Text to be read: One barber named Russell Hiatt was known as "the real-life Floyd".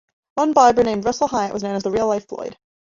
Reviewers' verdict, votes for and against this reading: accepted, 2, 0